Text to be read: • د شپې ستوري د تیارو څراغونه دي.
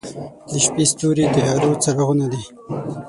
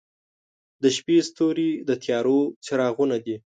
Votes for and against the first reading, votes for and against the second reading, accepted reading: 6, 9, 2, 0, second